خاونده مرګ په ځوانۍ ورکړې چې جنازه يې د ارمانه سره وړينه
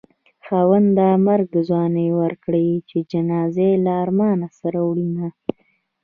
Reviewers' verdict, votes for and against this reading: accepted, 2, 0